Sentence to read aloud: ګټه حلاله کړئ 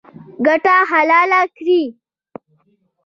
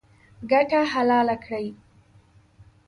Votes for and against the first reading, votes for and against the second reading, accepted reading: 1, 2, 2, 0, second